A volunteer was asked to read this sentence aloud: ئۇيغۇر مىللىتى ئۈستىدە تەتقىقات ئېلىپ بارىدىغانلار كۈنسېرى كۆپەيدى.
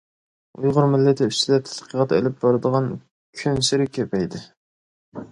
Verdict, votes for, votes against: rejected, 0, 2